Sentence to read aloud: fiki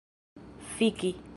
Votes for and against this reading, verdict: 2, 0, accepted